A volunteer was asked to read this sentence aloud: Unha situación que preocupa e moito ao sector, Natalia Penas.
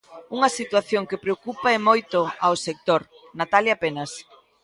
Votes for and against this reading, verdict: 2, 1, accepted